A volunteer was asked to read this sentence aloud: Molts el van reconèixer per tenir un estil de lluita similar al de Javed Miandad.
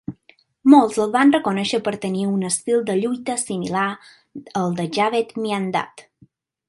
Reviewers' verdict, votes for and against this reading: accepted, 2, 0